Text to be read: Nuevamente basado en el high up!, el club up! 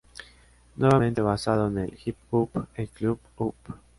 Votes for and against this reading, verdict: 0, 2, rejected